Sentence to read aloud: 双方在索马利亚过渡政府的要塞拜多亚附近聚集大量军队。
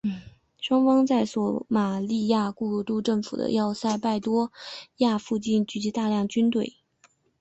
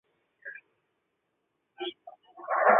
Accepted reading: first